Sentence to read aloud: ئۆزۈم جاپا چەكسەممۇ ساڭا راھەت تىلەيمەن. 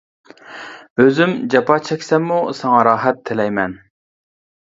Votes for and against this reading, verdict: 2, 0, accepted